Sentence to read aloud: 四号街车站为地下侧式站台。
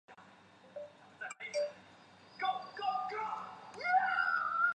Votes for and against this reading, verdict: 0, 3, rejected